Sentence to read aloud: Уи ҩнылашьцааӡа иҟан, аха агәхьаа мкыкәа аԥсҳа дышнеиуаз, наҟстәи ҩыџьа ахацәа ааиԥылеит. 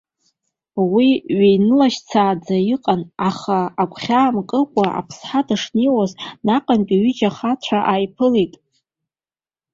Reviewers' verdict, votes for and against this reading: accepted, 2, 1